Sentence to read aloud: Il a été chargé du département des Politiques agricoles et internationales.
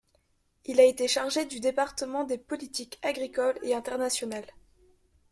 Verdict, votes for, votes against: accepted, 2, 0